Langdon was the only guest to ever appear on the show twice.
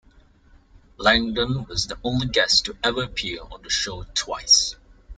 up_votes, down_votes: 2, 0